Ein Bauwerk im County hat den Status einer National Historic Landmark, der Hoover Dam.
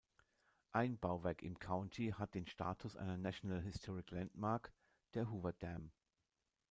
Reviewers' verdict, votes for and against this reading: accepted, 2, 0